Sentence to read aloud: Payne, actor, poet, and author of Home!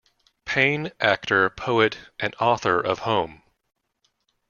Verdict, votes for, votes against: accepted, 2, 0